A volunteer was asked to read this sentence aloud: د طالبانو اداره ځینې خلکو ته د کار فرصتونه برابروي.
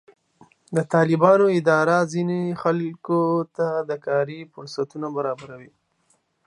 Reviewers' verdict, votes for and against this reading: rejected, 1, 2